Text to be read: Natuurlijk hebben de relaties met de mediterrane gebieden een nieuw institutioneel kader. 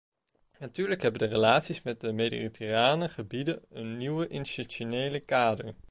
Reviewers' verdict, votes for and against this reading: rejected, 1, 2